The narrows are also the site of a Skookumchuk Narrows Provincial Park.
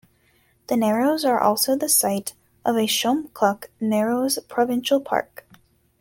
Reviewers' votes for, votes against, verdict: 0, 2, rejected